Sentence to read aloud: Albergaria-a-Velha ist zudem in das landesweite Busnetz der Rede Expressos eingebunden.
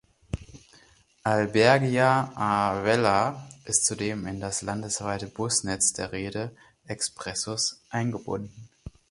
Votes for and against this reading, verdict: 2, 4, rejected